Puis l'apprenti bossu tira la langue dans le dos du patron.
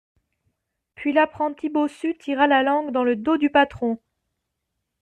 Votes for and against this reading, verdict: 2, 0, accepted